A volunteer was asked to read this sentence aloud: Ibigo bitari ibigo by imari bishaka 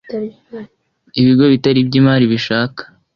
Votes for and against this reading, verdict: 2, 0, accepted